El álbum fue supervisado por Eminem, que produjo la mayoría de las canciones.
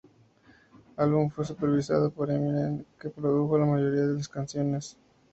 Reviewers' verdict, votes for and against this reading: accepted, 2, 0